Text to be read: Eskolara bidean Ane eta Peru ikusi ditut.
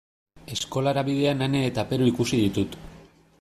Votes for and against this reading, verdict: 2, 0, accepted